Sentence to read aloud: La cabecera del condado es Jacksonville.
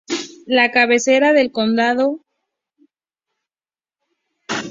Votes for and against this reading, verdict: 0, 2, rejected